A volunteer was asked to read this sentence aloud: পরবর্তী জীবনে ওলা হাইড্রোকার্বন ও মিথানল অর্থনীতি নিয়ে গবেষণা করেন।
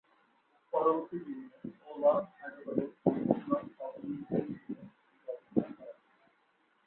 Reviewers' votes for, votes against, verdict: 0, 3, rejected